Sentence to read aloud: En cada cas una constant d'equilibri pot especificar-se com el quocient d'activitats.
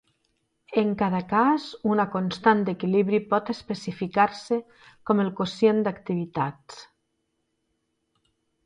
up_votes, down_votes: 2, 0